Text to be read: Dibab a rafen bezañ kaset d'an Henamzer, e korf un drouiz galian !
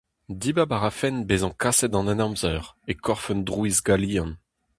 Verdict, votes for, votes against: accepted, 2, 0